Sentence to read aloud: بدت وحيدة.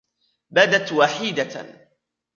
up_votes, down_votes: 1, 2